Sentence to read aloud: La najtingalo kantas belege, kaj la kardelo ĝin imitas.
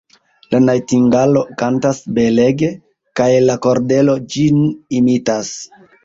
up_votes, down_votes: 0, 2